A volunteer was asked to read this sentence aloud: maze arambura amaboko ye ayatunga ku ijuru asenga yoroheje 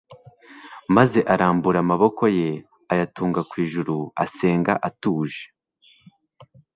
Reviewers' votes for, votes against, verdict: 1, 2, rejected